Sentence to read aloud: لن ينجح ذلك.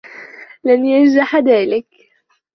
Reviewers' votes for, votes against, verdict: 2, 1, accepted